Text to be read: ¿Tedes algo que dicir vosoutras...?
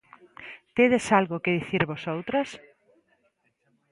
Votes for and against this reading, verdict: 2, 0, accepted